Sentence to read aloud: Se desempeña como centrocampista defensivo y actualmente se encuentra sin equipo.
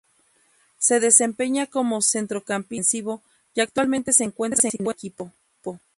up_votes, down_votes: 0, 2